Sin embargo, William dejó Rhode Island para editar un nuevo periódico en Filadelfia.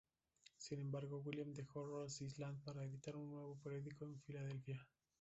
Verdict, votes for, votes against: rejected, 0, 2